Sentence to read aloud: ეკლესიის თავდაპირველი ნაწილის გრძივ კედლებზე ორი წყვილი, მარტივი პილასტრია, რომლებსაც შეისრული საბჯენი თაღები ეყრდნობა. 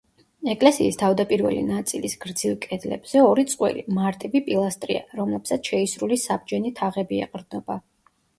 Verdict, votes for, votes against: accepted, 2, 0